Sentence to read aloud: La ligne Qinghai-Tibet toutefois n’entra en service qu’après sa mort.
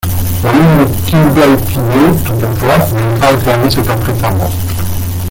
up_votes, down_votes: 0, 2